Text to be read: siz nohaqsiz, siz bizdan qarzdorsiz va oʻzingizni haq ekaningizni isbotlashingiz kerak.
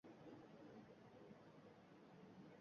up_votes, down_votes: 1, 2